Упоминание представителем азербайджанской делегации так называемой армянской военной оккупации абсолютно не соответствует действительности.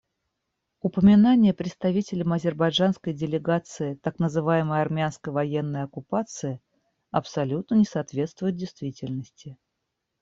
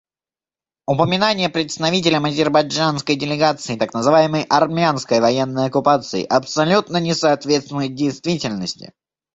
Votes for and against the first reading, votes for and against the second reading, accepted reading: 0, 2, 2, 0, second